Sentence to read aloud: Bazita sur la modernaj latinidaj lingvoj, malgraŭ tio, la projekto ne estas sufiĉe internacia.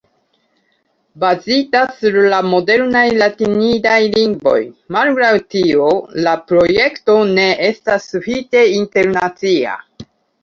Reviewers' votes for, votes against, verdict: 1, 2, rejected